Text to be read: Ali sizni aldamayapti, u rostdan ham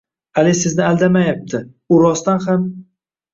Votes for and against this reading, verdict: 2, 0, accepted